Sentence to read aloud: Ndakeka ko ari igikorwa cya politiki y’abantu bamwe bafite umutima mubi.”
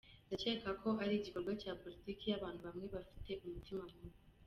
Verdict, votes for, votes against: rejected, 1, 2